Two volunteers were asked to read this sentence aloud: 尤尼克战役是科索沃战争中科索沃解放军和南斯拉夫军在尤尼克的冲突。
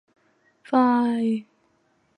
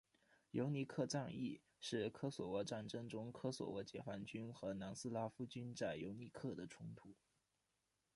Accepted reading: second